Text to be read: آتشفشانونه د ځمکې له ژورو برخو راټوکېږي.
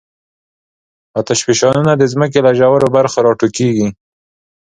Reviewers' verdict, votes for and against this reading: accepted, 2, 0